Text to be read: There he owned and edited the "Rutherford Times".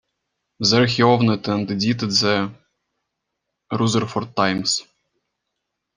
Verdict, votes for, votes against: rejected, 0, 2